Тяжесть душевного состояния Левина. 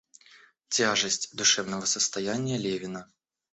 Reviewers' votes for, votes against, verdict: 1, 2, rejected